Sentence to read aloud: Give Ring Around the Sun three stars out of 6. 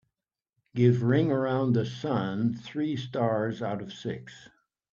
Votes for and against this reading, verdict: 0, 2, rejected